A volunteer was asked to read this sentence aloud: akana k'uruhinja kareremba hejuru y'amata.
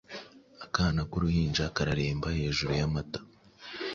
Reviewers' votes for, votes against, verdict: 2, 0, accepted